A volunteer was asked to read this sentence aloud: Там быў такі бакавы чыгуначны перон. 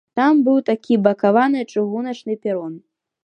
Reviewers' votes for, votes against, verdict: 0, 2, rejected